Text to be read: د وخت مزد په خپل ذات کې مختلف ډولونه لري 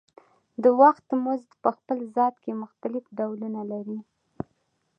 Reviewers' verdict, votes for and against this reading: accepted, 2, 0